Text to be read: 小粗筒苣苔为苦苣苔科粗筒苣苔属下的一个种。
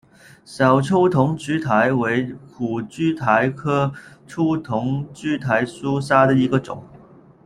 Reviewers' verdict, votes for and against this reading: rejected, 0, 2